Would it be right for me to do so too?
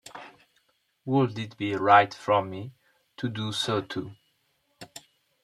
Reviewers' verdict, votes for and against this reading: accepted, 2, 0